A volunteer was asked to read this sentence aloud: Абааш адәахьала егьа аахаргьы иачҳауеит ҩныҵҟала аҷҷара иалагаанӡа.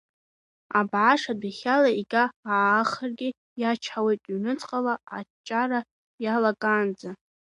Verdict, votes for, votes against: accepted, 3, 0